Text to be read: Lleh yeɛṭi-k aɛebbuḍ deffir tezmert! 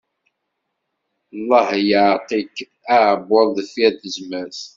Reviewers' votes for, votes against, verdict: 1, 2, rejected